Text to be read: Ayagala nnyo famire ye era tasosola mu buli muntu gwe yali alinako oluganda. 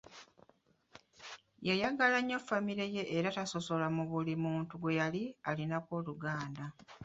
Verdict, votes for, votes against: rejected, 0, 2